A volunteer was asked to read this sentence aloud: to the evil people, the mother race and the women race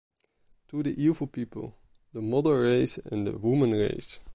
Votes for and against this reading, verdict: 3, 0, accepted